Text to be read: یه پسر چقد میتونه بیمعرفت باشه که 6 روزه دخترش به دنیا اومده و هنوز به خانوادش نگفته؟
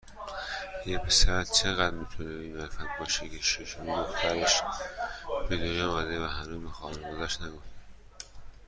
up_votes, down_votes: 0, 2